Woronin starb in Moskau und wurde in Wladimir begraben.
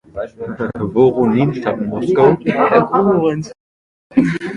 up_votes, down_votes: 0, 2